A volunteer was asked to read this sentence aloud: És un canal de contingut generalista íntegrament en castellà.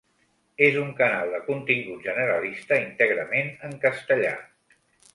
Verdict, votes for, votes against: accepted, 2, 0